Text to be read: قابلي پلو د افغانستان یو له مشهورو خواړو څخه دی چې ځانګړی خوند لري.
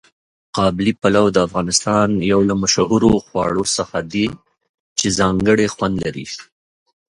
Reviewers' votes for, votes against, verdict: 0, 2, rejected